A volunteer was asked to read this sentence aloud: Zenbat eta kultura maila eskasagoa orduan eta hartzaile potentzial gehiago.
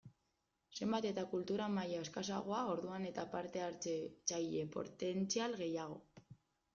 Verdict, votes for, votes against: rejected, 0, 2